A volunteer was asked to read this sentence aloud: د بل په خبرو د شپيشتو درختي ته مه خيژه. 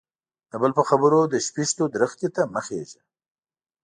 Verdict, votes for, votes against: accepted, 2, 0